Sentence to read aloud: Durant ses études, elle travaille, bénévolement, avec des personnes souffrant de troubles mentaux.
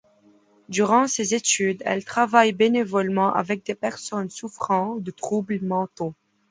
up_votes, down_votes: 2, 0